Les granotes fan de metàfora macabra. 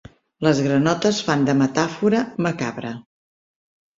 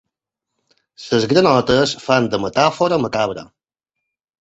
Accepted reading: first